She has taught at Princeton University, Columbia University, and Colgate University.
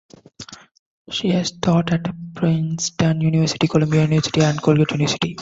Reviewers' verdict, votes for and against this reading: rejected, 0, 2